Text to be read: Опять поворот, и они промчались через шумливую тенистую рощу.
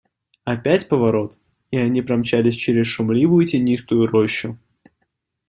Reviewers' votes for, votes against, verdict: 2, 0, accepted